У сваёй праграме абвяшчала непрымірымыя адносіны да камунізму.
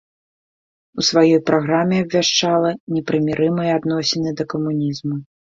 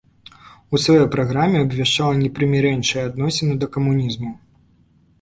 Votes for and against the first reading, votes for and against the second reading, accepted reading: 2, 0, 0, 2, first